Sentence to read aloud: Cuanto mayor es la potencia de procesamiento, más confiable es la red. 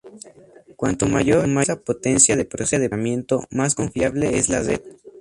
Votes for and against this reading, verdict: 0, 2, rejected